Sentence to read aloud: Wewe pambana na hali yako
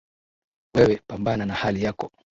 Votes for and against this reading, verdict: 3, 0, accepted